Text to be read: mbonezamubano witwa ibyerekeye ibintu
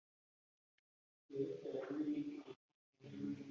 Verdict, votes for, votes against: rejected, 1, 3